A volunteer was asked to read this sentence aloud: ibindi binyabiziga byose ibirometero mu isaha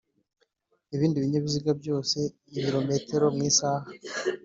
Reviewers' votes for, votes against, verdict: 2, 0, accepted